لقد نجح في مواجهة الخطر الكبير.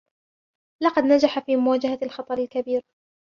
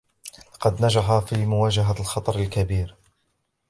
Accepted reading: second